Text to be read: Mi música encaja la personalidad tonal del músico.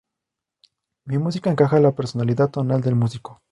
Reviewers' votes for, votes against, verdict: 2, 0, accepted